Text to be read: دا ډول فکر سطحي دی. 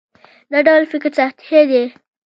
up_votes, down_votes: 0, 2